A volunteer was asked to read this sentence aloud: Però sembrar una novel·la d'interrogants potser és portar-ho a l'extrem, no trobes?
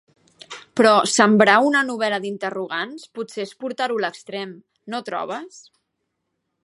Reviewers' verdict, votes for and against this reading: accepted, 2, 0